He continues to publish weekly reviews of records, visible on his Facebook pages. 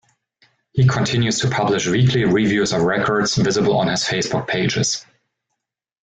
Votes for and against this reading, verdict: 1, 2, rejected